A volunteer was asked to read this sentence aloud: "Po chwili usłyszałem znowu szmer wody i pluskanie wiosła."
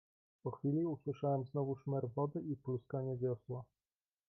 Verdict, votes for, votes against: rejected, 0, 2